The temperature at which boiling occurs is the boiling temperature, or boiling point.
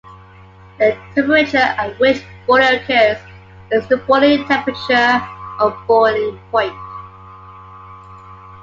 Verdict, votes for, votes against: rejected, 1, 2